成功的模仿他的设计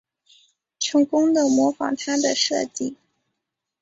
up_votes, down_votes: 2, 0